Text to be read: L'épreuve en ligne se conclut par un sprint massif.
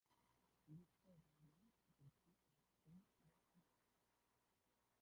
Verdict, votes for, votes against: rejected, 0, 2